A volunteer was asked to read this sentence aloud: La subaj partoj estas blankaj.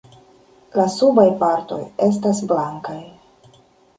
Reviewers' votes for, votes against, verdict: 2, 1, accepted